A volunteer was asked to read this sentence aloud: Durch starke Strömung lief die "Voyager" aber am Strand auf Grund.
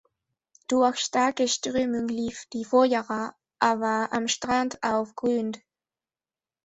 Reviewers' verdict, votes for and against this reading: rejected, 0, 2